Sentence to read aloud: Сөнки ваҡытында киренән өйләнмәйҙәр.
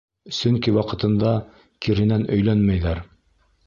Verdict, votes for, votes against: rejected, 1, 2